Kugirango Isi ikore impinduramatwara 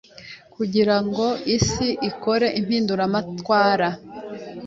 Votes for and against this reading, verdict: 2, 1, accepted